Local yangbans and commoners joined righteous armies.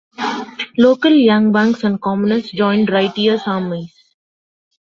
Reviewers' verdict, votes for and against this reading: rejected, 0, 2